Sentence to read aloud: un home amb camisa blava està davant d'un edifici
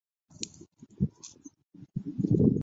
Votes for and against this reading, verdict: 0, 2, rejected